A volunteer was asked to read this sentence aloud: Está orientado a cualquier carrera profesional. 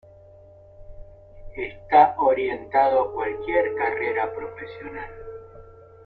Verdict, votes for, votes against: rejected, 0, 2